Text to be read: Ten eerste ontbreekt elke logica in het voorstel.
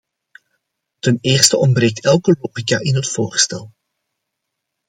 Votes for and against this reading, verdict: 2, 1, accepted